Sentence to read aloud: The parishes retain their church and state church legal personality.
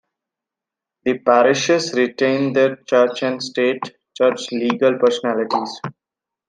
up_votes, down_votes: 2, 1